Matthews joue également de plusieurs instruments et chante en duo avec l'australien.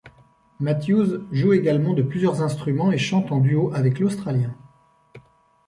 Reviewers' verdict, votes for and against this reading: accepted, 2, 0